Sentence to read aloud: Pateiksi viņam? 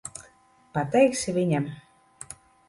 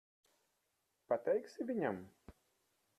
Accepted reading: first